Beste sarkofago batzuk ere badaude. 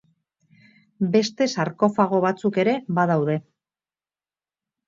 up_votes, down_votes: 4, 0